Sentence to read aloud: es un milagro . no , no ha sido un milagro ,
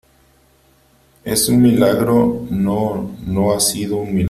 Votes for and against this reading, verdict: 0, 2, rejected